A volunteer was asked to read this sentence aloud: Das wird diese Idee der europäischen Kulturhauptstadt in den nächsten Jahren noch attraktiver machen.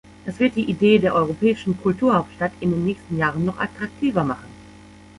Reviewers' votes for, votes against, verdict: 1, 2, rejected